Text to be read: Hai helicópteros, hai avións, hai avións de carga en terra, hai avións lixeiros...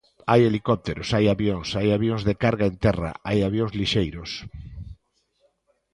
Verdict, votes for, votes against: accepted, 2, 0